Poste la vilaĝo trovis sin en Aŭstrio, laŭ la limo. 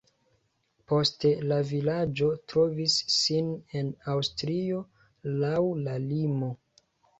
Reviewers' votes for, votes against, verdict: 3, 1, accepted